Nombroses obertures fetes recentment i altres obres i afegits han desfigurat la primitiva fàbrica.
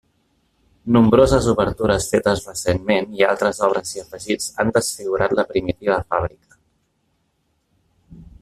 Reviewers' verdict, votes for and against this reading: accepted, 2, 1